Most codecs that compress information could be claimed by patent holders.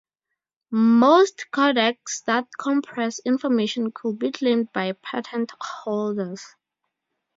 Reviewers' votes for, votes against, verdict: 0, 4, rejected